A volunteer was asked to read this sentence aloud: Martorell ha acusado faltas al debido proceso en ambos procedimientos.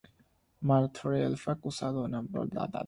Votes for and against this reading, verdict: 0, 3, rejected